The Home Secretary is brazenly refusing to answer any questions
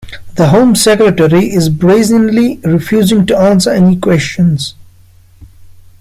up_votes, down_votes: 2, 0